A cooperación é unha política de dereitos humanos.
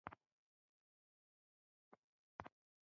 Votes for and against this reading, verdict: 1, 2, rejected